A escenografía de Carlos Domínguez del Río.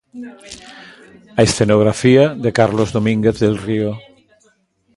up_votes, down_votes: 1, 2